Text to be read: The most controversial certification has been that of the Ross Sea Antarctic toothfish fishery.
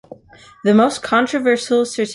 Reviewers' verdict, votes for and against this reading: rejected, 0, 2